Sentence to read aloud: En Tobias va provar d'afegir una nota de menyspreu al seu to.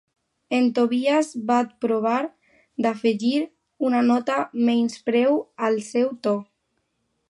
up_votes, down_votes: 0, 2